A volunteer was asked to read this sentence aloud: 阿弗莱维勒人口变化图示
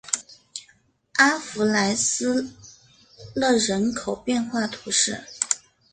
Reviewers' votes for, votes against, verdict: 1, 2, rejected